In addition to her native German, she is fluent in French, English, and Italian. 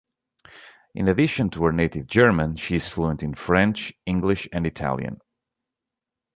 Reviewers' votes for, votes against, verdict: 2, 1, accepted